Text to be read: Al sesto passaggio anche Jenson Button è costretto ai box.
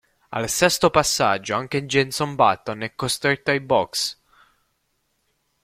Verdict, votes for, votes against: accepted, 4, 1